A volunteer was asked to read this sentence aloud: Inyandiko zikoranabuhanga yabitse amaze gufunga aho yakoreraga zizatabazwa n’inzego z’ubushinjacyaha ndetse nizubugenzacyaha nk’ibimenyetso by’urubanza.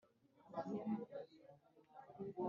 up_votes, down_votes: 0, 2